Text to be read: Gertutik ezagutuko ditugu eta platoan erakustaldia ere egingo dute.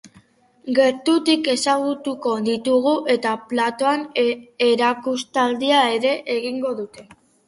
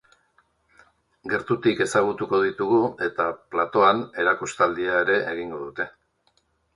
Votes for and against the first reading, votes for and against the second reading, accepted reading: 0, 2, 3, 0, second